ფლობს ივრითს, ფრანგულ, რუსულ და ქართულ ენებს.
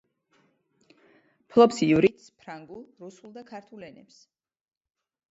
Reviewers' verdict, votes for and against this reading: accepted, 2, 1